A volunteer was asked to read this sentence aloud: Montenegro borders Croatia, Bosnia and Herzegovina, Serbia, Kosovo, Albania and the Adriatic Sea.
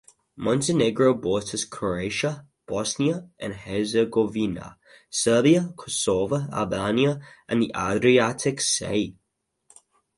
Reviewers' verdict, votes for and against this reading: rejected, 2, 2